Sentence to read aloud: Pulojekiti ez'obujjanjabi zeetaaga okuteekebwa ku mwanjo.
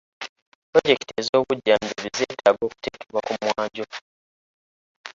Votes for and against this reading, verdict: 1, 2, rejected